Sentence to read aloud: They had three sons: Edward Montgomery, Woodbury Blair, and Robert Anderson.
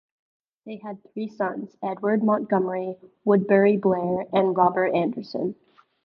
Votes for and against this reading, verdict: 2, 1, accepted